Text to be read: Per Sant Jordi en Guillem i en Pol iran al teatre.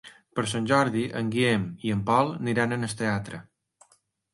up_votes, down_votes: 2, 0